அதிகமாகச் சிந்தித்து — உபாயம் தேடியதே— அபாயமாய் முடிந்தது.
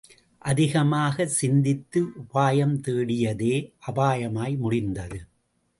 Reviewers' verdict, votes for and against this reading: accepted, 2, 0